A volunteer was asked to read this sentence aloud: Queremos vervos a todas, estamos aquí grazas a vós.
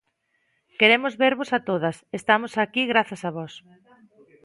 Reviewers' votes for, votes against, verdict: 2, 0, accepted